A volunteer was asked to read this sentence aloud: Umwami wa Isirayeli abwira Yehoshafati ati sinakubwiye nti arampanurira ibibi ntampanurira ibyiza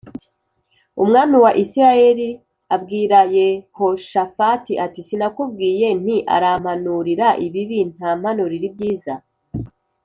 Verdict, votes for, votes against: accepted, 2, 0